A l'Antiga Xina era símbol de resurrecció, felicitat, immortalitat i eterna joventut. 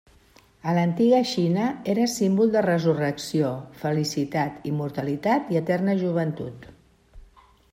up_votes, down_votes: 2, 0